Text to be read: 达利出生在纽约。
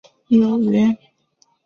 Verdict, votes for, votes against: rejected, 1, 2